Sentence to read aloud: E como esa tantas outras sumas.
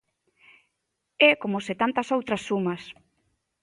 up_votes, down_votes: 0, 2